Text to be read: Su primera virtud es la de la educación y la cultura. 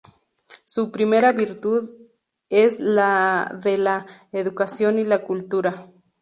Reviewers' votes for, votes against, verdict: 0, 2, rejected